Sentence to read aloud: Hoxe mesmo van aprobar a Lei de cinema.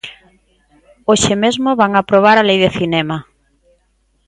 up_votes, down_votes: 2, 0